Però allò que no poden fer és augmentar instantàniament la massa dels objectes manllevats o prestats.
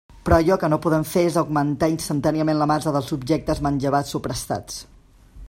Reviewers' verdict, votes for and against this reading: accepted, 2, 0